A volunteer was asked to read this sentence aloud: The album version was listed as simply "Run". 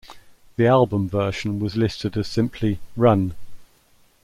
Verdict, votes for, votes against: accepted, 2, 0